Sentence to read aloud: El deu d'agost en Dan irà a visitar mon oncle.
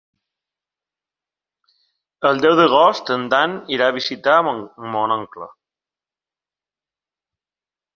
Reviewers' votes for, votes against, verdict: 1, 2, rejected